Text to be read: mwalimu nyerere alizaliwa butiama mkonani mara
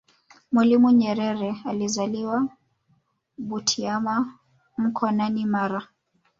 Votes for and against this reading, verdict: 1, 2, rejected